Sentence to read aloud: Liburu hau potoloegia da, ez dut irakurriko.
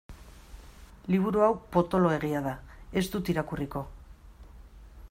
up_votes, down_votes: 2, 0